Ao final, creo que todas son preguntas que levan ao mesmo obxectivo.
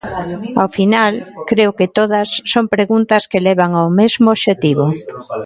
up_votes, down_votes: 2, 0